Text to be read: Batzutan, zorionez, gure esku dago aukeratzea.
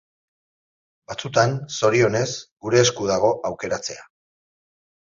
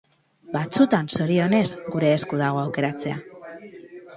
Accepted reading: first